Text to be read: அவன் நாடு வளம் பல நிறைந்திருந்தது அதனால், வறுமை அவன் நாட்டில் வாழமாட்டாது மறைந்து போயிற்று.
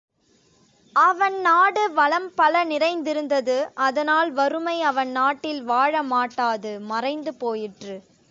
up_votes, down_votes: 2, 0